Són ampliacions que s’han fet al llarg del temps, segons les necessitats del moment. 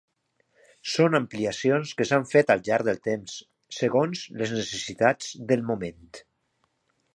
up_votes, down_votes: 2, 1